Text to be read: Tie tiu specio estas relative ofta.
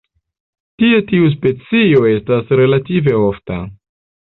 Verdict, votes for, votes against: rejected, 1, 2